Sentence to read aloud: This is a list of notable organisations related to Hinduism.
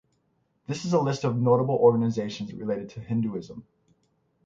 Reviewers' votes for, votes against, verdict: 6, 0, accepted